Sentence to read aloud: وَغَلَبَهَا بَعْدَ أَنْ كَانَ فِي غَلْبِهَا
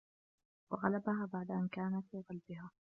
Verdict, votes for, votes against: rejected, 1, 2